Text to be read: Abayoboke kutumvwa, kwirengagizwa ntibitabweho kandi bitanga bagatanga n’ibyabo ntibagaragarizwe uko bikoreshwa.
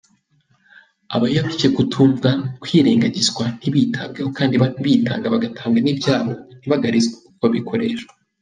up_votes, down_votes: 0, 2